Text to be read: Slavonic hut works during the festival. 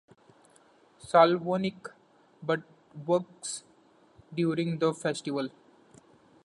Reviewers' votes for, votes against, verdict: 1, 2, rejected